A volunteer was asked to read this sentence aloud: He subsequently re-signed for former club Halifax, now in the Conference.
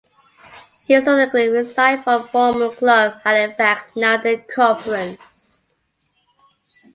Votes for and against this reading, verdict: 0, 2, rejected